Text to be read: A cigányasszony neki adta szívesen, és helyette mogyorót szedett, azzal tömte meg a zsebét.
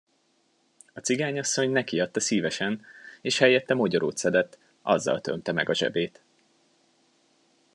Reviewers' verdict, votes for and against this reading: accepted, 2, 0